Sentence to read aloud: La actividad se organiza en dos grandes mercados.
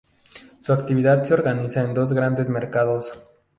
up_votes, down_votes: 2, 4